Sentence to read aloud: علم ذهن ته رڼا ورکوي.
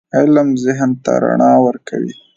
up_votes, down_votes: 3, 0